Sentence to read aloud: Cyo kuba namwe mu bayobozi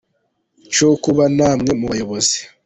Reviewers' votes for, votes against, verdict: 2, 0, accepted